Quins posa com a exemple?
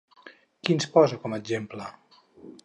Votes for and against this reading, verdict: 2, 0, accepted